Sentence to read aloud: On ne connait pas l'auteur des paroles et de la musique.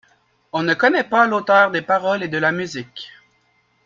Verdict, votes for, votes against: accepted, 2, 0